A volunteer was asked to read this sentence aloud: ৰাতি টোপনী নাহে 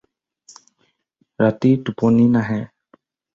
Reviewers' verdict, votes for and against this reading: accepted, 4, 0